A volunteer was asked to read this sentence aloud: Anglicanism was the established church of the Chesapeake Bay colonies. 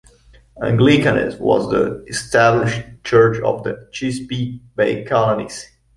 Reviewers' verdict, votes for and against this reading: rejected, 0, 2